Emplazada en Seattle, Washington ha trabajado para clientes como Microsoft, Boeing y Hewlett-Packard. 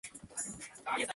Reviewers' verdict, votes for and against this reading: rejected, 0, 2